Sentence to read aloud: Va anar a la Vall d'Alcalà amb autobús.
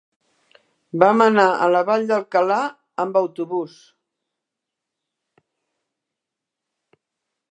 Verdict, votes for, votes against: rejected, 2, 3